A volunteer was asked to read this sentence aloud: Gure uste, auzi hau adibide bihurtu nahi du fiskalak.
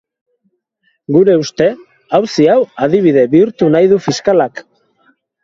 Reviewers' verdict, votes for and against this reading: accepted, 2, 0